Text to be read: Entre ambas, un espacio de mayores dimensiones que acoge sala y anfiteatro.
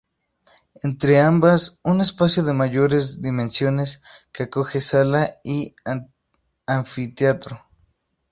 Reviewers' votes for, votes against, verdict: 0, 2, rejected